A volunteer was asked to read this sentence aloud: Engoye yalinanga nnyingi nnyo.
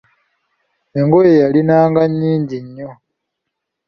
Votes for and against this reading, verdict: 2, 0, accepted